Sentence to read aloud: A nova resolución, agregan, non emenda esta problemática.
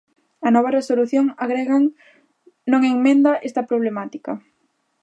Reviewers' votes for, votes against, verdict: 0, 2, rejected